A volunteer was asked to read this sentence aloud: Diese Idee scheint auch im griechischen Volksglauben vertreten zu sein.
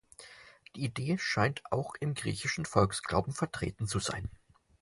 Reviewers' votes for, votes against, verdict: 0, 4, rejected